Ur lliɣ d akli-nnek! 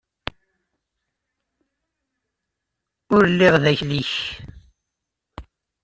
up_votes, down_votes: 0, 2